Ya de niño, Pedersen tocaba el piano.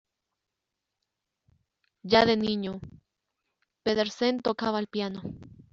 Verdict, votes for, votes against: rejected, 0, 2